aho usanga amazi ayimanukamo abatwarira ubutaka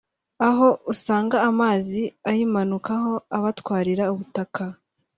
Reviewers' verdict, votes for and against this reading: rejected, 0, 2